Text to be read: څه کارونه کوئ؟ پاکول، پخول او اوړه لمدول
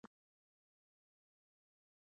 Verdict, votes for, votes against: rejected, 0, 2